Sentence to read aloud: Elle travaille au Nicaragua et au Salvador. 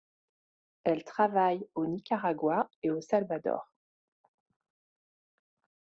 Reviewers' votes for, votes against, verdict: 2, 0, accepted